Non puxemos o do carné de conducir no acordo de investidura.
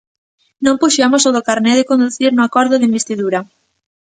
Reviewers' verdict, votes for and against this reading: accepted, 2, 0